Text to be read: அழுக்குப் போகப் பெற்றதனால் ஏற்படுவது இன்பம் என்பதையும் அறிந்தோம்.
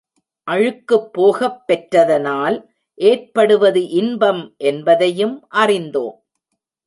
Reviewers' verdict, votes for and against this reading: accepted, 2, 0